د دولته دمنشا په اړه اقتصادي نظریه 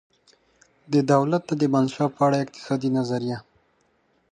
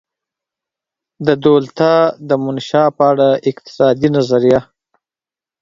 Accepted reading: first